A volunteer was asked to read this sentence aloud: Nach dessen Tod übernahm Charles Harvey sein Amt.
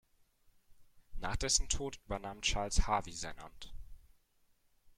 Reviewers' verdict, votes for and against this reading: rejected, 1, 2